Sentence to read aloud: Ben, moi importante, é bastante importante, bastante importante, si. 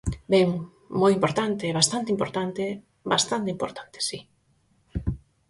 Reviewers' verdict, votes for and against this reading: accepted, 4, 0